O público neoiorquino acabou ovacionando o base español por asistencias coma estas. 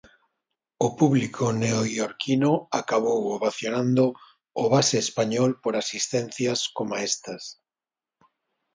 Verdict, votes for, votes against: accepted, 2, 0